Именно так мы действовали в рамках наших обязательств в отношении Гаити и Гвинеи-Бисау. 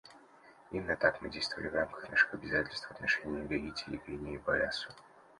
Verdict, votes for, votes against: rejected, 0, 2